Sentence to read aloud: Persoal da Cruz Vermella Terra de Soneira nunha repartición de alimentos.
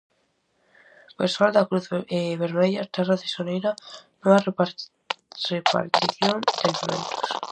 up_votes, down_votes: 0, 4